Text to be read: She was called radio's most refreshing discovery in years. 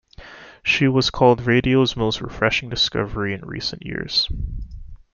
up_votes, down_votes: 0, 2